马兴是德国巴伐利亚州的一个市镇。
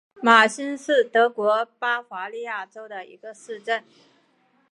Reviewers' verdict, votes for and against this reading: accepted, 2, 0